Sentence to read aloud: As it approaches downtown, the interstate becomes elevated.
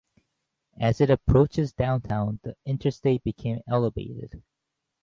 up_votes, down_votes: 0, 2